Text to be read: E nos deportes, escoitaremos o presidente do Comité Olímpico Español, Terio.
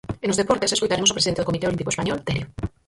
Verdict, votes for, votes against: rejected, 0, 4